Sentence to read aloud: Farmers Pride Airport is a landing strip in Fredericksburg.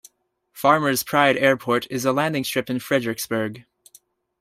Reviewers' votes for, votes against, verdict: 2, 0, accepted